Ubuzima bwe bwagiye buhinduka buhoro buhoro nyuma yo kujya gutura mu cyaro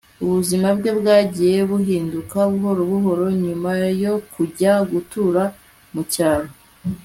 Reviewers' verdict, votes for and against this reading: accepted, 2, 0